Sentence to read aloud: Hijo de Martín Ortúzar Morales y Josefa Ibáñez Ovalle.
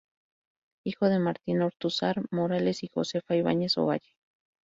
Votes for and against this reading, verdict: 2, 2, rejected